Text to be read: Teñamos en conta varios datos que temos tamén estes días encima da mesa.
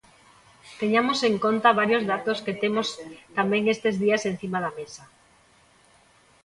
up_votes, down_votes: 0, 2